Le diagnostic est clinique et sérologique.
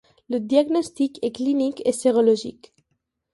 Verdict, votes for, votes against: accepted, 2, 0